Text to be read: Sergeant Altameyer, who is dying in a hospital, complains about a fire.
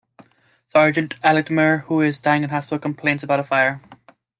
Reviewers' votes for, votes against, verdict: 2, 0, accepted